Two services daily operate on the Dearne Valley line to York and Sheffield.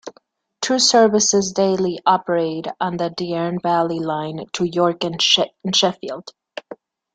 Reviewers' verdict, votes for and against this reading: rejected, 1, 2